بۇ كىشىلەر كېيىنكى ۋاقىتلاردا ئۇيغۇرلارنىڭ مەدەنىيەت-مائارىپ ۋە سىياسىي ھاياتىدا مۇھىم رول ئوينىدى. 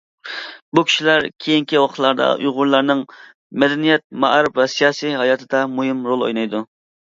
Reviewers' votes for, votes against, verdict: 0, 2, rejected